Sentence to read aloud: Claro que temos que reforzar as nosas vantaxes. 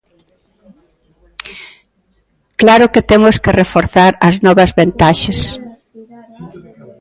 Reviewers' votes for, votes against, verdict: 0, 3, rejected